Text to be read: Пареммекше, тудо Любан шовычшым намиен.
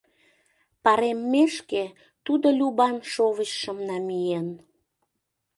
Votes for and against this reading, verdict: 0, 2, rejected